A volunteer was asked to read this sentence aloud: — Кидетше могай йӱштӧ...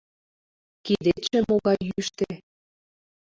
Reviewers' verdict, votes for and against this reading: rejected, 1, 2